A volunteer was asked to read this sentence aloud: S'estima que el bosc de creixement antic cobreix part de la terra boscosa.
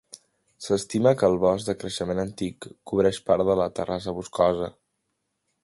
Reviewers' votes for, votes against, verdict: 1, 2, rejected